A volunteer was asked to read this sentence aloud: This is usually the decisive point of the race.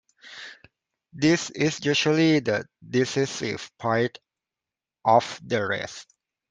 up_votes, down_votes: 1, 2